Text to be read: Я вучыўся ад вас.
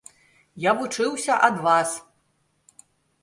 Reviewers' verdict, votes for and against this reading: accepted, 2, 0